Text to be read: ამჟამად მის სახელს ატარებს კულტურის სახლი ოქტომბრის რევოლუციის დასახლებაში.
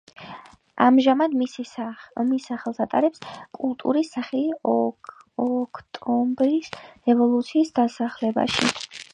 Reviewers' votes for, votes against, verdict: 0, 2, rejected